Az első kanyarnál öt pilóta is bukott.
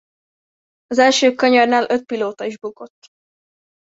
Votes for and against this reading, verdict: 2, 0, accepted